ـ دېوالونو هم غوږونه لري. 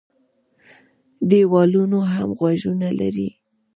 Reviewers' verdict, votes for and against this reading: rejected, 1, 2